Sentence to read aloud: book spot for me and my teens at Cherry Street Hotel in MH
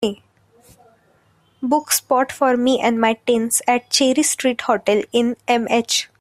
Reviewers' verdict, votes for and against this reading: accepted, 3, 0